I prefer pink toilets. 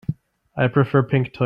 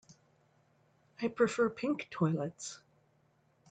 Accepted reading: second